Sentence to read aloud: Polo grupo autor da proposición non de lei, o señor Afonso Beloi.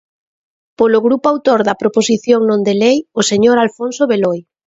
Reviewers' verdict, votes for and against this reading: rejected, 0, 2